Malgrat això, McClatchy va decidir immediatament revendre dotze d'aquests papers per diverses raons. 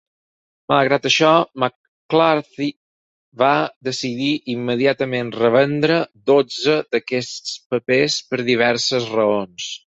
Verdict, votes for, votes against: rejected, 0, 4